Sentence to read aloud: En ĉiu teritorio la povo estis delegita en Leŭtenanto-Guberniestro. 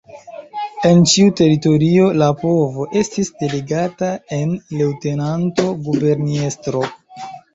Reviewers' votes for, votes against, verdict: 1, 2, rejected